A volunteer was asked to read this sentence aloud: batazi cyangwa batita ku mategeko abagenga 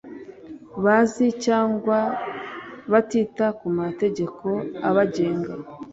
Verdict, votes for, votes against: rejected, 1, 2